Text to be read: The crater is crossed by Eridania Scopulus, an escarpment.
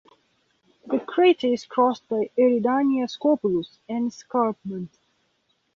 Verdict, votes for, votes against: accepted, 2, 0